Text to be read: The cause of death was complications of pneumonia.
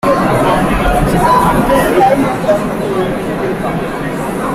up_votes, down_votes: 0, 2